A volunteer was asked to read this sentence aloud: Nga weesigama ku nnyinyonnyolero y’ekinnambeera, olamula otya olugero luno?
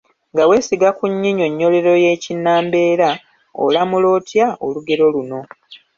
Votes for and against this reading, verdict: 2, 1, accepted